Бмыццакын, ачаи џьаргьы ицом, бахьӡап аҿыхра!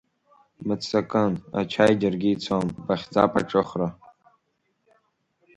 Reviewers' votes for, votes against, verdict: 2, 0, accepted